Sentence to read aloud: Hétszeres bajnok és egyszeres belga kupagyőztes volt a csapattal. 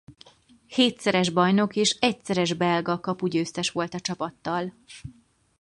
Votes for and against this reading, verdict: 0, 4, rejected